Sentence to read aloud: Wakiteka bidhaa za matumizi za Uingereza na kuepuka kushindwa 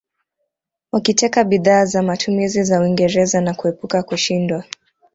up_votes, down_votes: 1, 2